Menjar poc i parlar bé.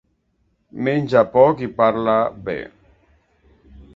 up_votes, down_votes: 1, 2